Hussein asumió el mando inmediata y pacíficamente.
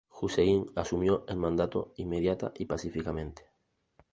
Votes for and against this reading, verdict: 1, 2, rejected